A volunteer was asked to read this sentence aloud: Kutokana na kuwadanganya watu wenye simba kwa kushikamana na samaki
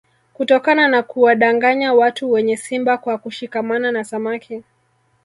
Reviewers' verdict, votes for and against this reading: accepted, 3, 0